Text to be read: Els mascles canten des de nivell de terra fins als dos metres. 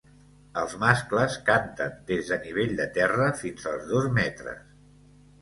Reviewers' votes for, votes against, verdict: 4, 0, accepted